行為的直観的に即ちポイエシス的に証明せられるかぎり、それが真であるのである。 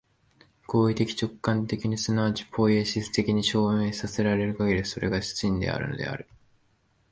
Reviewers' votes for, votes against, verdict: 2, 0, accepted